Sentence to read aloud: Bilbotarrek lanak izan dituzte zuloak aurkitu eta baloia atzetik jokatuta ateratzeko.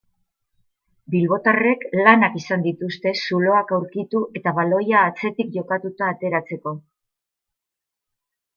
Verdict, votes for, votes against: accepted, 2, 0